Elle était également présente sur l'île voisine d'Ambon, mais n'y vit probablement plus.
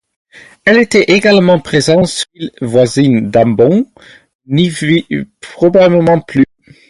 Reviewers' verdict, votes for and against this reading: accepted, 4, 0